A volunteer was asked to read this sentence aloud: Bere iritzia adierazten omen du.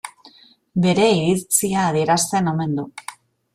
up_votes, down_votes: 0, 2